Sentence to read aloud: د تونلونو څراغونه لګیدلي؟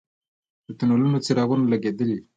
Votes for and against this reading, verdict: 3, 0, accepted